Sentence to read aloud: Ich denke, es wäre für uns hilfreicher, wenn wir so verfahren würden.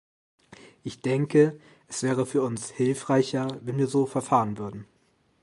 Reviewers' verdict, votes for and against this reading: accepted, 3, 1